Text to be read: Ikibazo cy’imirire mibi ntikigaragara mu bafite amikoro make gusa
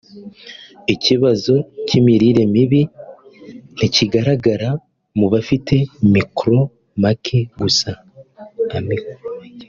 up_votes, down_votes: 2, 3